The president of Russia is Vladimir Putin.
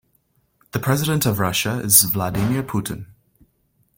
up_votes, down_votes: 2, 0